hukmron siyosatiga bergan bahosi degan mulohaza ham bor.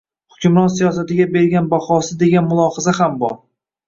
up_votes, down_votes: 0, 2